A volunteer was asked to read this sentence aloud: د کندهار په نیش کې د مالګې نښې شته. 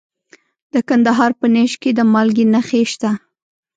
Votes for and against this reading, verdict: 1, 2, rejected